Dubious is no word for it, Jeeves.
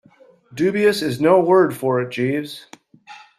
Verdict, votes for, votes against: accepted, 2, 0